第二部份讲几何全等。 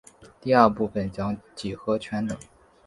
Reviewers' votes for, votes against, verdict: 2, 1, accepted